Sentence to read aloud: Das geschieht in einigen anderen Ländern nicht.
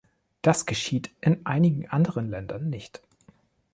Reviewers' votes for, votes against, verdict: 2, 0, accepted